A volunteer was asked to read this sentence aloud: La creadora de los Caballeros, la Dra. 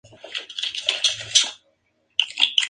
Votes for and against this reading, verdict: 0, 2, rejected